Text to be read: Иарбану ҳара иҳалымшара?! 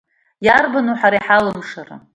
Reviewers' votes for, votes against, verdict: 1, 2, rejected